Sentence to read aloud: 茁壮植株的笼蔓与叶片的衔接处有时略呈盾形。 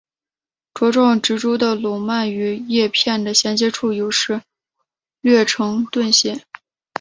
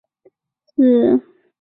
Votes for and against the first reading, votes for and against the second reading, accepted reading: 3, 0, 0, 6, first